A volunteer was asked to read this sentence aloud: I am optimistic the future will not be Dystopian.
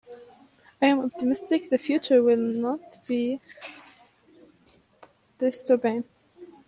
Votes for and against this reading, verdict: 0, 2, rejected